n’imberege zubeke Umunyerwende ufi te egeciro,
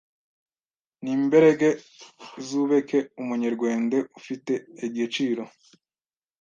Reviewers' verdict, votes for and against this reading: rejected, 1, 2